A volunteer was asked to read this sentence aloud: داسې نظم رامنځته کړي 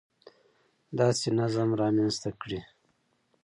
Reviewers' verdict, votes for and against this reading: accepted, 2, 0